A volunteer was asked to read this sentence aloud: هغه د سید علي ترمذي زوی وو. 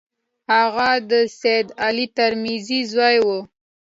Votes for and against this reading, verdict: 2, 0, accepted